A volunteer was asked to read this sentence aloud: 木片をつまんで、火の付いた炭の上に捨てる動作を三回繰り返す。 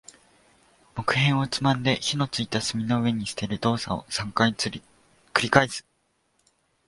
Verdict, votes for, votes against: rejected, 1, 2